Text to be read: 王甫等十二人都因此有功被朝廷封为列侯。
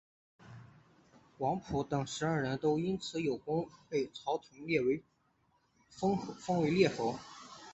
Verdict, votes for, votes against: rejected, 0, 2